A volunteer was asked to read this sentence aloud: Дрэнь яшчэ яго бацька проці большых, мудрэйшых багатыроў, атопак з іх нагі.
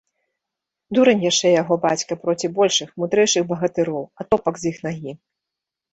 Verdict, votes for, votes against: rejected, 1, 2